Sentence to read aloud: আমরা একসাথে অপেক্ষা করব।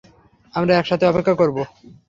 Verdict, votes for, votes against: accepted, 3, 0